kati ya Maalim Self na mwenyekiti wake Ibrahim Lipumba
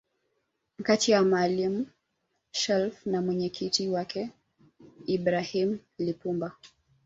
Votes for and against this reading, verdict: 0, 2, rejected